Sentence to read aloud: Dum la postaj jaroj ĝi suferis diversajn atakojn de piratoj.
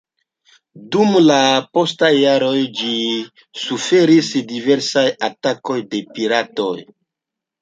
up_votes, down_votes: 2, 0